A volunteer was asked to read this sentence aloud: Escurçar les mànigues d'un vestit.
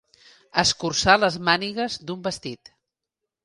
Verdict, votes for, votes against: accepted, 3, 0